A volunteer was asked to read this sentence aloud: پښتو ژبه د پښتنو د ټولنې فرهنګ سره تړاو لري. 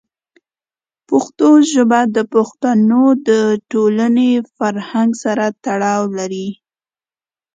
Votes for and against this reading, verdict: 3, 2, accepted